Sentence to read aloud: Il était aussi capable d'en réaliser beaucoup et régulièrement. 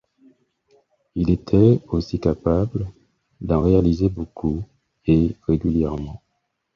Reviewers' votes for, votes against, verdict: 4, 0, accepted